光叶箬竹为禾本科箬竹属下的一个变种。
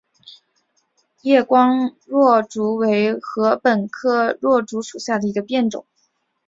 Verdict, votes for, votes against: accepted, 5, 1